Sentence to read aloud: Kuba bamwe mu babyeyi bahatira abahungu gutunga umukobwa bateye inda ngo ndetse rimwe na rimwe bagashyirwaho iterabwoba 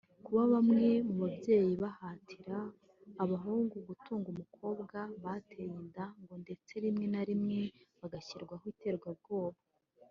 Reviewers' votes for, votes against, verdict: 0, 2, rejected